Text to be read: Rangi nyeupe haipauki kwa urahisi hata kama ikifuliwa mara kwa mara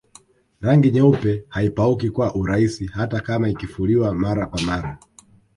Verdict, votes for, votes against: rejected, 1, 2